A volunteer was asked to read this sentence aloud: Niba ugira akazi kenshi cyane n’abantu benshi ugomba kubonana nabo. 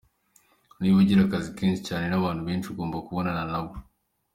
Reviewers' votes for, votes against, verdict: 2, 0, accepted